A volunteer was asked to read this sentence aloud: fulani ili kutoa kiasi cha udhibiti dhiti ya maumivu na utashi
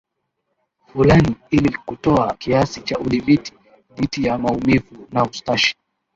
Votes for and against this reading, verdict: 1, 2, rejected